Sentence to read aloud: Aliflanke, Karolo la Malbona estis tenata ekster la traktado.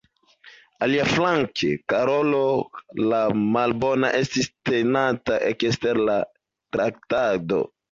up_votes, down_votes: 1, 2